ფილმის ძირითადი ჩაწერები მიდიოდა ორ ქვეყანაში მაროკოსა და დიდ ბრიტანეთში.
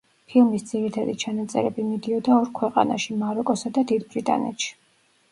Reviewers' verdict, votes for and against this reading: rejected, 1, 2